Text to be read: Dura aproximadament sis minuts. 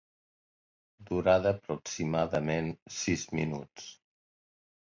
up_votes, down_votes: 0, 2